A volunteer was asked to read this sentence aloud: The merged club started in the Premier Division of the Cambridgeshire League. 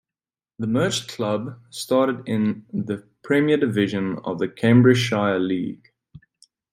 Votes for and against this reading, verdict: 2, 0, accepted